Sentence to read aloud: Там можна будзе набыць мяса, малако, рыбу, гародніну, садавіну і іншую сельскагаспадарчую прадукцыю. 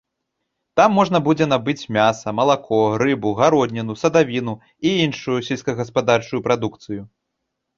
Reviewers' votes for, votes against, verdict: 2, 0, accepted